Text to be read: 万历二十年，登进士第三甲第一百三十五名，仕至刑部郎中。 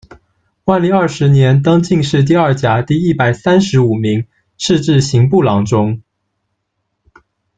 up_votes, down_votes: 1, 2